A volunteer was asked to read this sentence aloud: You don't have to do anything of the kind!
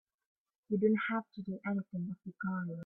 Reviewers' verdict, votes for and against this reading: rejected, 3, 4